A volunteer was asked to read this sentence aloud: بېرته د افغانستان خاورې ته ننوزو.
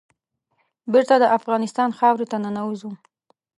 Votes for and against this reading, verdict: 2, 0, accepted